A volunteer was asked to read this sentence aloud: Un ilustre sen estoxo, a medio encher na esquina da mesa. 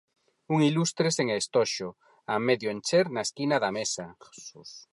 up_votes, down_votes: 0, 4